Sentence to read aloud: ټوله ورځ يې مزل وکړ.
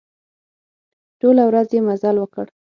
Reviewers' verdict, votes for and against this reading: accepted, 6, 0